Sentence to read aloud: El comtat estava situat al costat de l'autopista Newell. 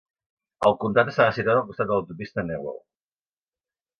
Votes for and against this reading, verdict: 2, 1, accepted